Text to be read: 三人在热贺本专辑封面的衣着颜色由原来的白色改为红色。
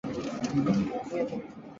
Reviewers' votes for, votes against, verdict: 0, 2, rejected